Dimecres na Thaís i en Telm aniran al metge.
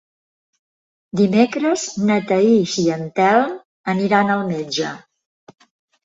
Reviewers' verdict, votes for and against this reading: accepted, 3, 0